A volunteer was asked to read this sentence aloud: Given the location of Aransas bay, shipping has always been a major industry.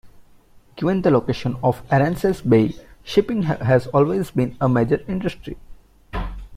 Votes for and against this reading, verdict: 2, 1, accepted